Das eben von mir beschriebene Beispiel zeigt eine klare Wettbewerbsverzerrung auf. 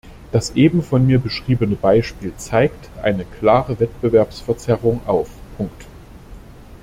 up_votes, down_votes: 0, 2